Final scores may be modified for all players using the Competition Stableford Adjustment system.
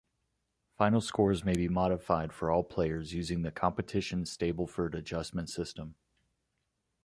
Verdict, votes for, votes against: accepted, 2, 0